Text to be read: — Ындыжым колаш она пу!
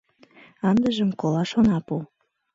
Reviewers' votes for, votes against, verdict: 2, 0, accepted